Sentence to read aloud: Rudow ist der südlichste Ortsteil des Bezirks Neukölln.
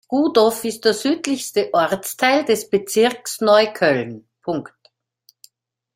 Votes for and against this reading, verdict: 0, 2, rejected